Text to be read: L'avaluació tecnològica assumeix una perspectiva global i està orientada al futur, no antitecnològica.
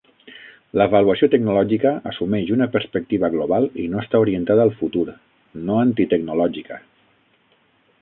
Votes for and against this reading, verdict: 3, 6, rejected